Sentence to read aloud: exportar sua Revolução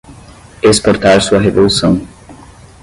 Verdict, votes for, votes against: rejected, 5, 10